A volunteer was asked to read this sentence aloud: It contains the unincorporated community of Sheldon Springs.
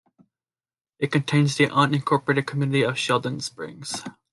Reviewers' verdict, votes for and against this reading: accepted, 2, 0